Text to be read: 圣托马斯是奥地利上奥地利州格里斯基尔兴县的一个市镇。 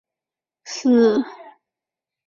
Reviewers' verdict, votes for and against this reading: rejected, 0, 2